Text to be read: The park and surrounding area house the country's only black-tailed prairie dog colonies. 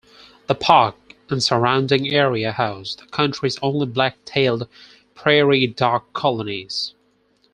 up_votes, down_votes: 4, 0